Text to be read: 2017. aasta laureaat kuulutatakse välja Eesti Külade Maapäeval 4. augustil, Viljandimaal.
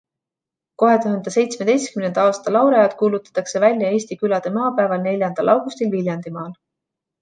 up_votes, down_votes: 0, 2